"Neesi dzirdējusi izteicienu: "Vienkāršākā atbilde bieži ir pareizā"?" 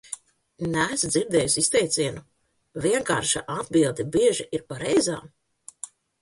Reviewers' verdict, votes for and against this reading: rejected, 0, 2